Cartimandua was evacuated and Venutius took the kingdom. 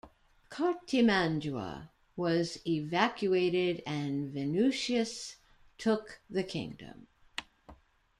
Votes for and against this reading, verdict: 2, 0, accepted